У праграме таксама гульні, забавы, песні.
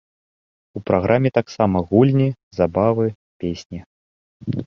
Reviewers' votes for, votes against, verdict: 0, 2, rejected